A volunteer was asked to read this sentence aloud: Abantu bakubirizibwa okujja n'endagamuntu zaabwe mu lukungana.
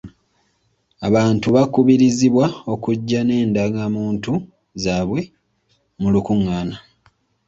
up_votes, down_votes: 2, 0